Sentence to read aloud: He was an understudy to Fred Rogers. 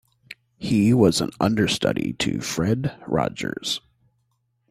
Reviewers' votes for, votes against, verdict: 2, 0, accepted